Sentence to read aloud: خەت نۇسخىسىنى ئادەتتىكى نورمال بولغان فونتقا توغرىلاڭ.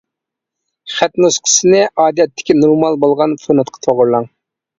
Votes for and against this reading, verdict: 2, 0, accepted